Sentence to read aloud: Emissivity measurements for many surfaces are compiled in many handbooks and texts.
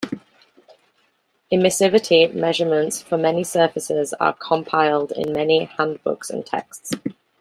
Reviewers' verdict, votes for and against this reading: accepted, 2, 1